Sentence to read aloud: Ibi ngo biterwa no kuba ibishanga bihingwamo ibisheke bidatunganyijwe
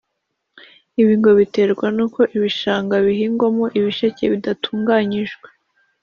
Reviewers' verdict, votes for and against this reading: rejected, 0, 2